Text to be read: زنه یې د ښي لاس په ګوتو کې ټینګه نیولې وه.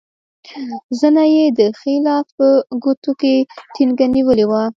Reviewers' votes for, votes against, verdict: 1, 2, rejected